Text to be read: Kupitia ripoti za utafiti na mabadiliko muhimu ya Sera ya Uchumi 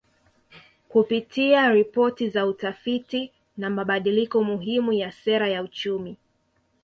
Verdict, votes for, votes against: accepted, 2, 0